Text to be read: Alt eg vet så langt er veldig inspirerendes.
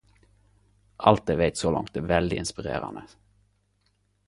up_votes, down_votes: 2, 2